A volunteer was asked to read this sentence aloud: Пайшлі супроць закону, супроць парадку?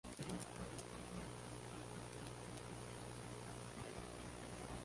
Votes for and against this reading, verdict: 0, 2, rejected